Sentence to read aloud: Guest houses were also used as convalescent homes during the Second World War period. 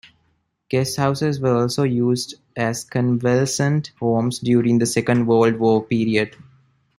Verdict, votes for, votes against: rejected, 1, 2